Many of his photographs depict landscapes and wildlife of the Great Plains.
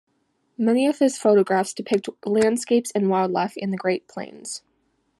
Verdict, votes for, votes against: rejected, 1, 2